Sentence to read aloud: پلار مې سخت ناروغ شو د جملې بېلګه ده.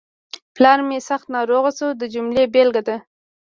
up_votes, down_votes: 2, 1